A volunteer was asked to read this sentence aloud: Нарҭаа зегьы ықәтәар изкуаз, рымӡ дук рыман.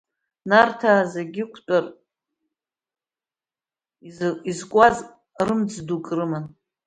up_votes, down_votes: 0, 2